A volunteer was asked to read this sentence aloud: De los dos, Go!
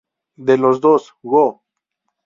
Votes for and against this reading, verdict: 2, 0, accepted